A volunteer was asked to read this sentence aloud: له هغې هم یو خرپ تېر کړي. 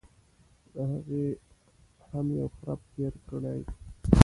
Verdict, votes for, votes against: rejected, 1, 2